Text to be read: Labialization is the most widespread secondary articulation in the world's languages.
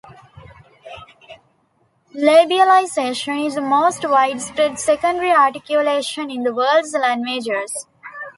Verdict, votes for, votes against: rejected, 0, 2